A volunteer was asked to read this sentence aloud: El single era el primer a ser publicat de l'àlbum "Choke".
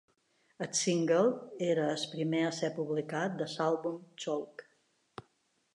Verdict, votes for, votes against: rejected, 1, 2